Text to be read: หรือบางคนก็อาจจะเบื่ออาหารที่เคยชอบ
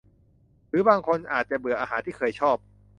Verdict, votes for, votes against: rejected, 0, 2